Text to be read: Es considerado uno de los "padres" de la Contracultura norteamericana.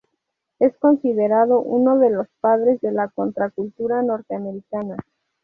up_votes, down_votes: 2, 0